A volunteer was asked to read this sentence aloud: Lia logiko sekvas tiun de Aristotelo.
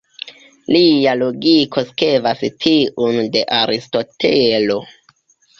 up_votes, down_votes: 1, 2